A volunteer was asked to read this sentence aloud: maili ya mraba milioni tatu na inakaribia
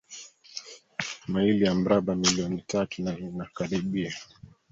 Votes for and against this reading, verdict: 0, 2, rejected